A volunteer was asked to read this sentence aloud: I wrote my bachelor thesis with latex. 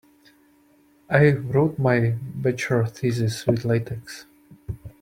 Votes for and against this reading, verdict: 1, 2, rejected